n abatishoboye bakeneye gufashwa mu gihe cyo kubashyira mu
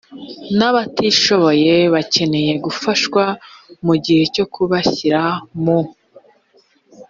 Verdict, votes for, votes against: accepted, 4, 0